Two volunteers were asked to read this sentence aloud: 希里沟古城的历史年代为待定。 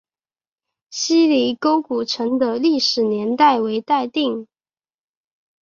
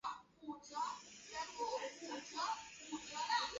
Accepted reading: first